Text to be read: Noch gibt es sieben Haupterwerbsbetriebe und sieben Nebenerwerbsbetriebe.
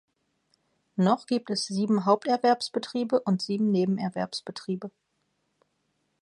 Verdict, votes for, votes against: accepted, 2, 0